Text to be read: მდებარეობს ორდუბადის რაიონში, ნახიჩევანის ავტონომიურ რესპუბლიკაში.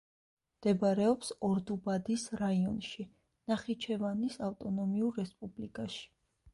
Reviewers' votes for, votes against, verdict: 2, 0, accepted